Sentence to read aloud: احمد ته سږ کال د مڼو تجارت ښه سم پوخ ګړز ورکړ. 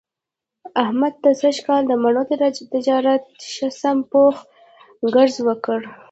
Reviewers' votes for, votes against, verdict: 2, 0, accepted